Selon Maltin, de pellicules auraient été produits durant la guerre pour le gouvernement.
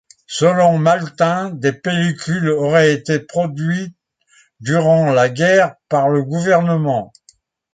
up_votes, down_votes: 1, 2